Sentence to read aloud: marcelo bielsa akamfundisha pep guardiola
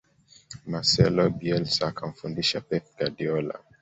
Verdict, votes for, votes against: accepted, 2, 0